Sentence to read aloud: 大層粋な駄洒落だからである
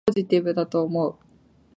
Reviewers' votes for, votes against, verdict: 6, 14, rejected